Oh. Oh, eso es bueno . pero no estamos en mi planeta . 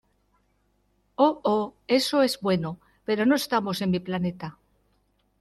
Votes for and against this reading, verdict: 2, 1, accepted